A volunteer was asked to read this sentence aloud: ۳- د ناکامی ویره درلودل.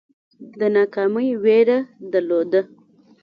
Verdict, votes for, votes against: rejected, 0, 2